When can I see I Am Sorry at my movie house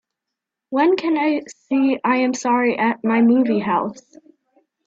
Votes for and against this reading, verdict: 2, 1, accepted